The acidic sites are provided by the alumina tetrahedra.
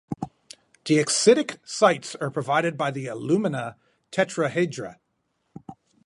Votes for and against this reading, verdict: 4, 0, accepted